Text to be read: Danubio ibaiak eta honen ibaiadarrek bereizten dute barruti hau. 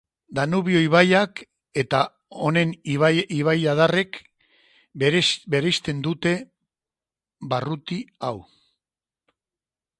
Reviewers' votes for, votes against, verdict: 3, 2, accepted